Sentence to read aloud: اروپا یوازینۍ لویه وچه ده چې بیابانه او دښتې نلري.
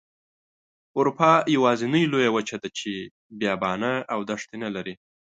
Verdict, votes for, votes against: accepted, 2, 0